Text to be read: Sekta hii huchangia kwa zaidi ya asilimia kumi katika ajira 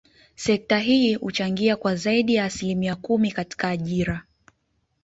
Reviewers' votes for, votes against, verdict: 2, 0, accepted